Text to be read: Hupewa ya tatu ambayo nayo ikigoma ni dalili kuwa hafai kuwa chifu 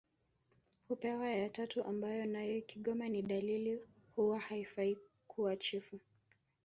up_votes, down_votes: 0, 2